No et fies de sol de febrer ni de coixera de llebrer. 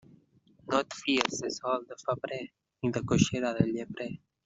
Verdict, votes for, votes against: rejected, 1, 2